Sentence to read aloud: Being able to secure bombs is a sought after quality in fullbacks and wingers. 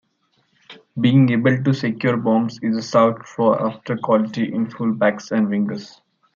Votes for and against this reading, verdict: 0, 2, rejected